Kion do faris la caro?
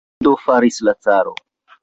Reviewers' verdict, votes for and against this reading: rejected, 0, 2